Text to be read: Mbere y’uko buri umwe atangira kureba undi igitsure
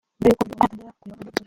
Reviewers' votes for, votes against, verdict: 0, 2, rejected